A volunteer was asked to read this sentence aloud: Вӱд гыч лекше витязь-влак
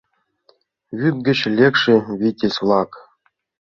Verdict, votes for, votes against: accepted, 2, 0